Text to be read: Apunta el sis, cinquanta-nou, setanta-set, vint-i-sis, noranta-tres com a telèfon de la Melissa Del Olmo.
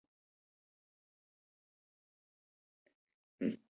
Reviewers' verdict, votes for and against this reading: rejected, 0, 2